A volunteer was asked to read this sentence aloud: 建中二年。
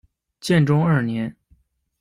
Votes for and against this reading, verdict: 2, 0, accepted